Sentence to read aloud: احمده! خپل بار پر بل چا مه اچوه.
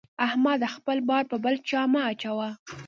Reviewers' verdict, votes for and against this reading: rejected, 1, 2